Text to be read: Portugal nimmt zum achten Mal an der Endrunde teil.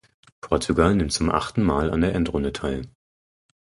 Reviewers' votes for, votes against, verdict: 4, 0, accepted